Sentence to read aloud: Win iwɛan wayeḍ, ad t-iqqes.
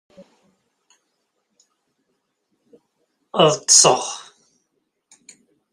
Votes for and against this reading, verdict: 0, 2, rejected